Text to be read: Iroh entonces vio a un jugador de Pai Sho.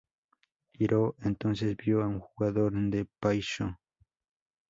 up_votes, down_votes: 2, 0